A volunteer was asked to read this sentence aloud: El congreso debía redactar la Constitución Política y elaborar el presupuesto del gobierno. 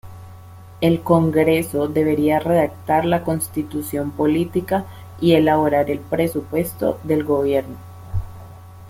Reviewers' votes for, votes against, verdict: 0, 2, rejected